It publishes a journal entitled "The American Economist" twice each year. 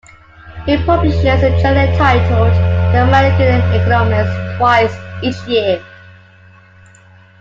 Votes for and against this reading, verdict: 1, 2, rejected